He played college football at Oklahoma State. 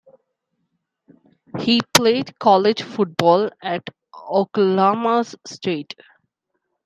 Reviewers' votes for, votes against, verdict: 0, 2, rejected